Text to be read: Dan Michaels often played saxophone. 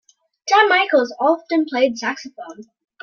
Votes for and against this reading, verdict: 2, 0, accepted